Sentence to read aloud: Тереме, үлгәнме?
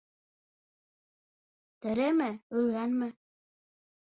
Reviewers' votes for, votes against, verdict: 2, 3, rejected